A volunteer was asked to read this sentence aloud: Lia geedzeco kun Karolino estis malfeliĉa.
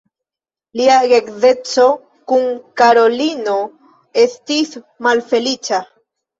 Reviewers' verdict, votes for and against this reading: rejected, 1, 2